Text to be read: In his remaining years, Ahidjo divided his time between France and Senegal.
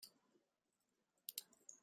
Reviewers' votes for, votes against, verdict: 0, 3, rejected